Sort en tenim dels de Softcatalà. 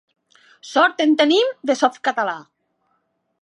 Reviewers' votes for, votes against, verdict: 2, 1, accepted